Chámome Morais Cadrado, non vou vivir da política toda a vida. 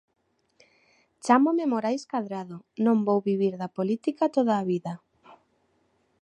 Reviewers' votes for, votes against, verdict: 2, 0, accepted